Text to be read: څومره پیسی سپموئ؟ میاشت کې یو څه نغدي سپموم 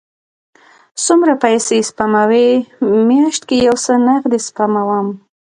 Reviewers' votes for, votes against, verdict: 2, 0, accepted